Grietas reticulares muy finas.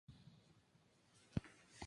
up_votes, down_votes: 0, 2